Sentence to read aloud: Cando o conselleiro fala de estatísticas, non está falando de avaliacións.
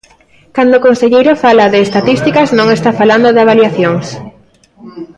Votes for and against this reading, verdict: 1, 2, rejected